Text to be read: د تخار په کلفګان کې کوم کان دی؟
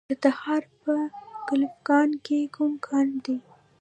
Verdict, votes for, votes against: rejected, 0, 2